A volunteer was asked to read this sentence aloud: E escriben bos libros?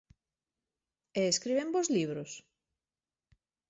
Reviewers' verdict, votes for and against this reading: accepted, 2, 0